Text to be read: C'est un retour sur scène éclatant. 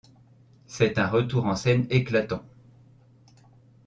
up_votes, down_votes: 0, 2